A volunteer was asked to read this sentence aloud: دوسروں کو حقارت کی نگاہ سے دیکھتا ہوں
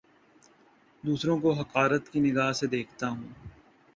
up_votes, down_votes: 3, 0